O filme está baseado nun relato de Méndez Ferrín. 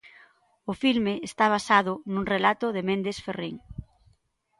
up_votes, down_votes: 1, 2